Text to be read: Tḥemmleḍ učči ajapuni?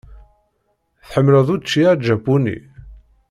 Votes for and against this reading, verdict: 1, 2, rejected